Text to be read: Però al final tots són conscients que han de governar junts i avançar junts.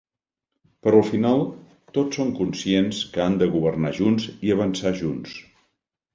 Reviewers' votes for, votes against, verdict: 2, 0, accepted